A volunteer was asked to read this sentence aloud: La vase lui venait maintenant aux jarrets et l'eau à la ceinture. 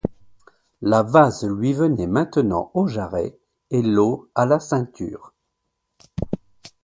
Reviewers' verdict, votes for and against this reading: accepted, 2, 0